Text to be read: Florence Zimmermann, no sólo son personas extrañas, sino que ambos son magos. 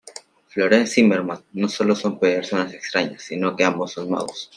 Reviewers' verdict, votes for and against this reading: accepted, 2, 0